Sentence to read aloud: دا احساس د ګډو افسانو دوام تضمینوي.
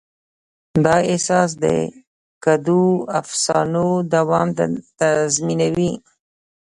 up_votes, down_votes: 2, 1